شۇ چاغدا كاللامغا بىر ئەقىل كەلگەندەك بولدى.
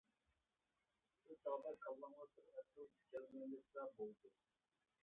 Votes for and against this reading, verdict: 0, 2, rejected